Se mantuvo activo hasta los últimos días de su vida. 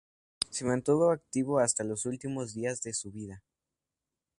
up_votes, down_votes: 4, 0